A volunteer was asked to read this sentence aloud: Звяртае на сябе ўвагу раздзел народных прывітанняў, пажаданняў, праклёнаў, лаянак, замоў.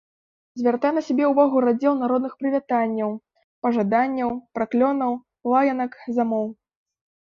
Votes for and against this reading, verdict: 2, 1, accepted